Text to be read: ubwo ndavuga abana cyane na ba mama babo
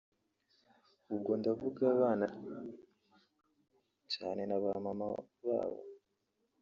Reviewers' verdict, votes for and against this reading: rejected, 2, 3